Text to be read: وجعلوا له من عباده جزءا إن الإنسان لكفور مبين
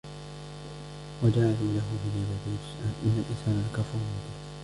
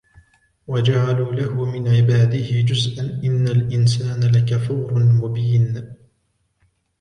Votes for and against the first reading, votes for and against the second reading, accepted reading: 0, 2, 2, 0, second